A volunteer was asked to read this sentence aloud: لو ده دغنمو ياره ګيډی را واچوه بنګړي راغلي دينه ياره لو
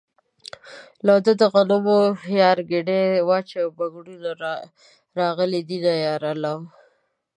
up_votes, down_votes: 1, 2